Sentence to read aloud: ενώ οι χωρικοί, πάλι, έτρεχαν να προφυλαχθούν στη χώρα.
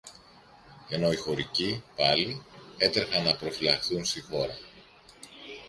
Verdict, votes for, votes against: accepted, 2, 0